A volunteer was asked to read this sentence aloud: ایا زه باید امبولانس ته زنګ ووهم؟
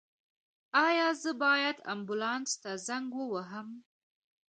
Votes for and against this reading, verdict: 2, 0, accepted